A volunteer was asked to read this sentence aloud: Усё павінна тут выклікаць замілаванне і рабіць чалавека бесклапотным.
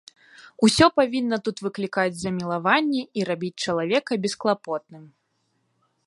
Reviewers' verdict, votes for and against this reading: accepted, 2, 0